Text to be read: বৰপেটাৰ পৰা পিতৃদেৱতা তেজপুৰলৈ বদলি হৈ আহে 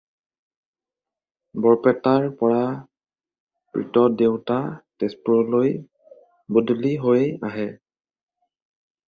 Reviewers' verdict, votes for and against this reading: rejected, 0, 2